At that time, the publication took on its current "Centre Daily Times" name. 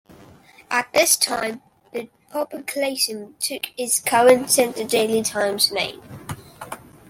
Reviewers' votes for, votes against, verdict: 1, 2, rejected